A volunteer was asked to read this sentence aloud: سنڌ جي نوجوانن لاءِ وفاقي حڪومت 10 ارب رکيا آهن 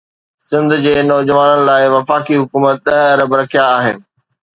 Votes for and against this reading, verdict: 0, 2, rejected